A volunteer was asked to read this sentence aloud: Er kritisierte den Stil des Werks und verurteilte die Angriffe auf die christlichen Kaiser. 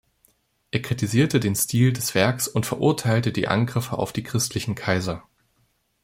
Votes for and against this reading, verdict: 2, 0, accepted